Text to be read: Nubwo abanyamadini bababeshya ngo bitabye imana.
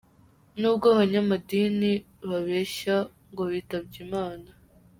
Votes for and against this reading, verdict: 0, 2, rejected